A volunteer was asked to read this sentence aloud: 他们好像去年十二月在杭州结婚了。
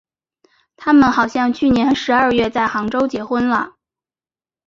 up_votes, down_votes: 3, 0